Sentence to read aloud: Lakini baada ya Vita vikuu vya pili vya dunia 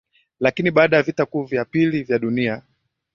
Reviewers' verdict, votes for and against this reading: rejected, 1, 2